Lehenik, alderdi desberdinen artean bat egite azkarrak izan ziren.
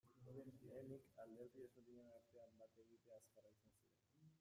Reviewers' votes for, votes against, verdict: 0, 2, rejected